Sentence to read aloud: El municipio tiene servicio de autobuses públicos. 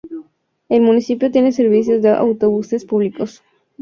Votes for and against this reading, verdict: 0, 2, rejected